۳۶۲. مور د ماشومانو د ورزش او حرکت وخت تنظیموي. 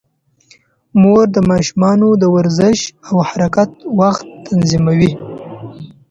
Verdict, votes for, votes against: rejected, 0, 2